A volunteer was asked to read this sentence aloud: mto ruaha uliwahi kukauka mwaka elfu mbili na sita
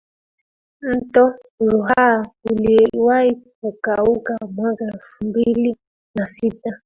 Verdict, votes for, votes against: accepted, 2, 1